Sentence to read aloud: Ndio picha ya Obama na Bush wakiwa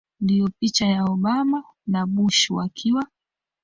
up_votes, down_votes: 2, 1